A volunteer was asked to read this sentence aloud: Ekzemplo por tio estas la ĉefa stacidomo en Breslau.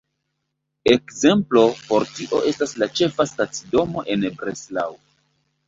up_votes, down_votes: 2, 0